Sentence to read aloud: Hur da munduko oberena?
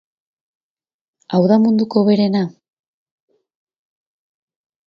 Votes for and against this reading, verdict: 2, 2, rejected